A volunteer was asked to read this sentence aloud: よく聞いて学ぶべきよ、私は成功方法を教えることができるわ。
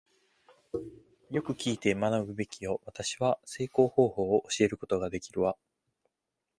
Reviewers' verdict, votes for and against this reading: accepted, 2, 0